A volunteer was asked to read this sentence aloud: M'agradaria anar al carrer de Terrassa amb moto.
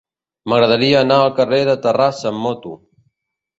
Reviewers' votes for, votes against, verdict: 2, 0, accepted